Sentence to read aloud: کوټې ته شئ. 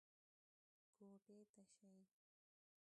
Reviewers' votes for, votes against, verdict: 1, 2, rejected